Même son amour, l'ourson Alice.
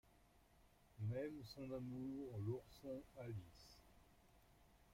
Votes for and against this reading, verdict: 2, 0, accepted